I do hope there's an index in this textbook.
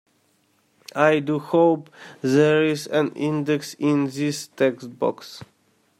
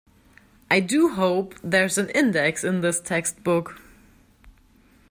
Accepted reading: second